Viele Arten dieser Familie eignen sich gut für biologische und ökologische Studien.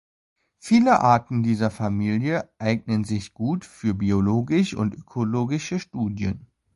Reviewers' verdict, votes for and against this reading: rejected, 0, 2